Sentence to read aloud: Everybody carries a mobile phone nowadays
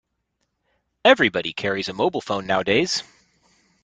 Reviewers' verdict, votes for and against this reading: rejected, 1, 2